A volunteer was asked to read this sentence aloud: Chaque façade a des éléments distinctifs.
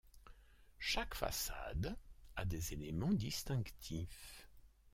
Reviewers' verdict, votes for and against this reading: accepted, 2, 0